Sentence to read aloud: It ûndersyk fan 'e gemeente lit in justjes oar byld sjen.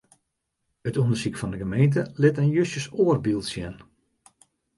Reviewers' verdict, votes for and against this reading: accepted, 2, 0